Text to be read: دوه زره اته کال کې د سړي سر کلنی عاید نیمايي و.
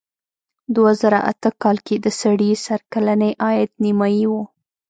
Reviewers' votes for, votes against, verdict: 1, 2, rejected